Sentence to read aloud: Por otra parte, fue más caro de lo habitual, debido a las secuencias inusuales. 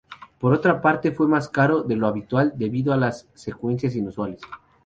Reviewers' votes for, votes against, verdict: 2, 0, accepted